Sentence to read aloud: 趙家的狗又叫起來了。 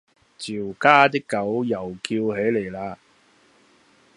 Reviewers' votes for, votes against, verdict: 0, 2, rejected